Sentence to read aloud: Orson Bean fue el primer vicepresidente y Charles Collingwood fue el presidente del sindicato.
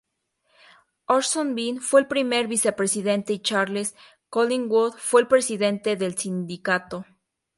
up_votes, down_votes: 2, 0